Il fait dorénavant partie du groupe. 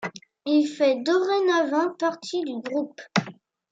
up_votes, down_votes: 2, 0